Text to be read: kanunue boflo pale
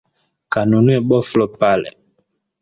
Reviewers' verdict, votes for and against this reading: accepted, 2, 0